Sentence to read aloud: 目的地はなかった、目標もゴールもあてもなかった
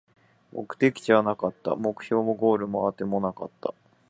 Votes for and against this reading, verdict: 4, 0, accepted